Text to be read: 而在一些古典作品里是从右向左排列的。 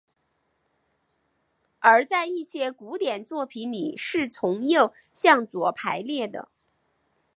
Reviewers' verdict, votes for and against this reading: accepted, 2, 0